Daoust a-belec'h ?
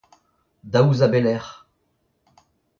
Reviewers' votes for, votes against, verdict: 0, 3, rejected